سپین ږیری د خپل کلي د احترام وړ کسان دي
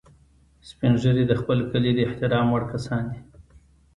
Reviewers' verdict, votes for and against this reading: accepted, 2, 0